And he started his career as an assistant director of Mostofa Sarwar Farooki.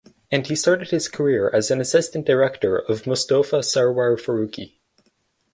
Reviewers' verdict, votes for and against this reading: accepted, 4, 0